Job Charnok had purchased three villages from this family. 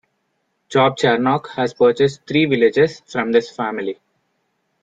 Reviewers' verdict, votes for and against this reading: rejected, 1, 2